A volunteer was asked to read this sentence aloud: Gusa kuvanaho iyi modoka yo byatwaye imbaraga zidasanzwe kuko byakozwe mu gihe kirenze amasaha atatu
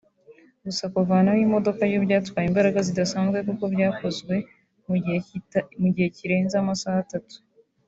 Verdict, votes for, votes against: rejected, 0, 2